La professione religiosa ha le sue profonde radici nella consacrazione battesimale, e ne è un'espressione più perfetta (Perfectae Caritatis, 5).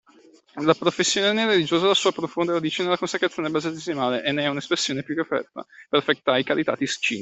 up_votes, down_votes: 0, 2